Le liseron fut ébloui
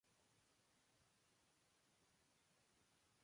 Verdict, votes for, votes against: rejected, 0, 2